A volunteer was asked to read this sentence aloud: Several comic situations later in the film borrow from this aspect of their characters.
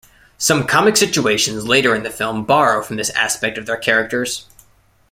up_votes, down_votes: 0, 2